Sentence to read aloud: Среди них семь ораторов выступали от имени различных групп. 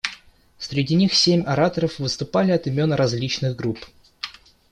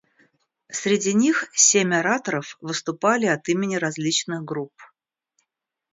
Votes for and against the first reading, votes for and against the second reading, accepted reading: 1, 2, 2, 0, second